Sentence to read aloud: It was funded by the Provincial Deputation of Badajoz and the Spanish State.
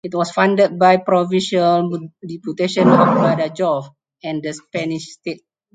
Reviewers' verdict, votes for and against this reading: rejected, 0, 4